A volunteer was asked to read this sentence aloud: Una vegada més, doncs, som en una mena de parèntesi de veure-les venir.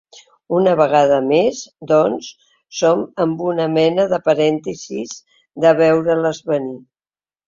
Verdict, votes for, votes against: rejected, 1, 2